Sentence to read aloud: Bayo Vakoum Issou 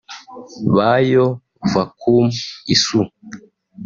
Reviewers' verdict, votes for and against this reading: accepted, 2, 0